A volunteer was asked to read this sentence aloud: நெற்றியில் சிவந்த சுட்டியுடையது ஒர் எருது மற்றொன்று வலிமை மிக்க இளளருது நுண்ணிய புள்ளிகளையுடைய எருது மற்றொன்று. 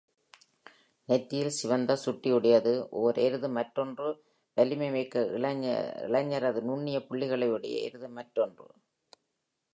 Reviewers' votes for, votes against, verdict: 0, 2, rejected